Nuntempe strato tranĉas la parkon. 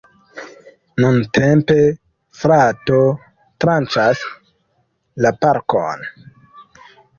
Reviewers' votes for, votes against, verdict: 0, 2, rejected